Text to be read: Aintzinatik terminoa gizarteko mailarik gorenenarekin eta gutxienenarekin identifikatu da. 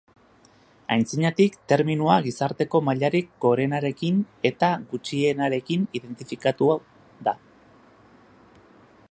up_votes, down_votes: 0, 2